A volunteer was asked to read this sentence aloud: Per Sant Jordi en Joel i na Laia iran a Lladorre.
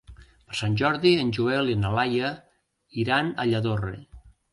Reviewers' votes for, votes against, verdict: 1, 2, rejected